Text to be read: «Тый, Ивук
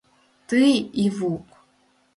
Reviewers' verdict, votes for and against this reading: accepted, 2, 0